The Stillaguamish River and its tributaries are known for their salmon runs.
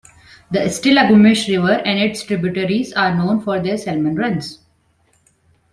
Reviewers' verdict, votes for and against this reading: accepted, 2, 1